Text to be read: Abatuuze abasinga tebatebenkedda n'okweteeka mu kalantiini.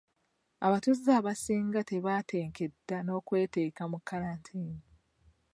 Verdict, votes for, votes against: rejected, 1, 2